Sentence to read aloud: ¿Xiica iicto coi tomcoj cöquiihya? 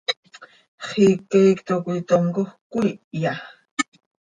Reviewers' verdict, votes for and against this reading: accepted, 2, 0